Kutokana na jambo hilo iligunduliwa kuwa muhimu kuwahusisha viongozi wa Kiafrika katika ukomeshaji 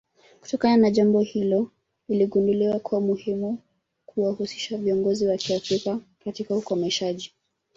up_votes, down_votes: 1, 2